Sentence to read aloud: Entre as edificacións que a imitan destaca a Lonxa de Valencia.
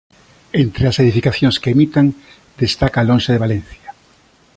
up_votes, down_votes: 1, 2